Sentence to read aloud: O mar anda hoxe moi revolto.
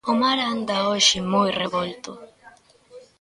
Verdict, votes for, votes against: accepted, 2, 0